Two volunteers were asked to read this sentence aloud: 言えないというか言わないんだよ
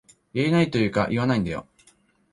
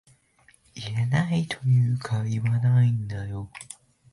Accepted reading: first